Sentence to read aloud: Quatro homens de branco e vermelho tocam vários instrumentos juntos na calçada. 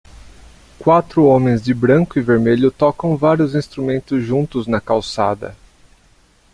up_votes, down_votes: 2, 0